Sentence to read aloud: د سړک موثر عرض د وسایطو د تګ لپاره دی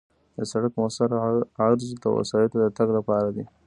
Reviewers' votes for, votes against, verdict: 0, 2, rejected